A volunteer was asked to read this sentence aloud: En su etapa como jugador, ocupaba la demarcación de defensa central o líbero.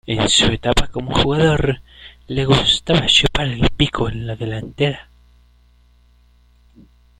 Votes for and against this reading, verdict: 0, 2, rejected